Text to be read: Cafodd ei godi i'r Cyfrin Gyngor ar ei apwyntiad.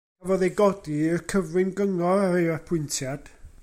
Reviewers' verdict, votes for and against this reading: rejected, 1, 2